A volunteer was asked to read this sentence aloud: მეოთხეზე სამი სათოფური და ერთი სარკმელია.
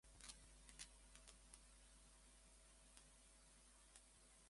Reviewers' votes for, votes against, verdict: 1, 2, rejected